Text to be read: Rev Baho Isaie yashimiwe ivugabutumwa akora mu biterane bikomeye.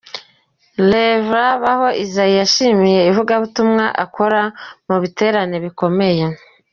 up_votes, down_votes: 1, 3